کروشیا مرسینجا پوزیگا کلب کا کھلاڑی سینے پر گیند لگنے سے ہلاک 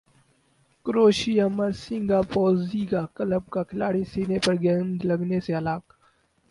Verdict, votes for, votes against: rejected, 2, 2